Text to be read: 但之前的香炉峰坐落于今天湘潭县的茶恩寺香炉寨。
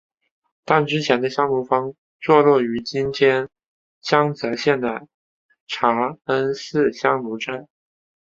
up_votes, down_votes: 2, 3